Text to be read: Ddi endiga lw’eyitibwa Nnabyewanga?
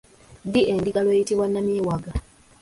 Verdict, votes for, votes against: rejected, 1, 2